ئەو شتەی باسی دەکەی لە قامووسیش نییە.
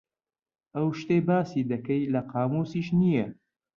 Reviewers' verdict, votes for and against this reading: accepted, 2, 0